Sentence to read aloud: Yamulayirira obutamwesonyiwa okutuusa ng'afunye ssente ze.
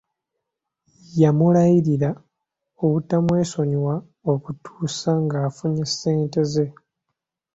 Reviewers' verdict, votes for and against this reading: accepted, 2, 0